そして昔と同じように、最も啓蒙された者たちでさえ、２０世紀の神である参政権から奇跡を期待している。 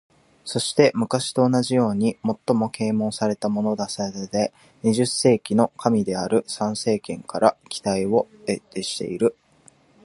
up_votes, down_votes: 0, 2